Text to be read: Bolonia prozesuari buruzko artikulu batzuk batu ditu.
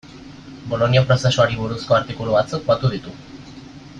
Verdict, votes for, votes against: accepted, 2, 0